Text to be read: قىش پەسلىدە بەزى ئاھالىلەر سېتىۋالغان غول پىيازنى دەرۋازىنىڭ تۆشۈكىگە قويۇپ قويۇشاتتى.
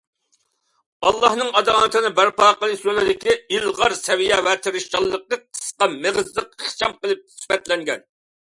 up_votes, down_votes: 0, 2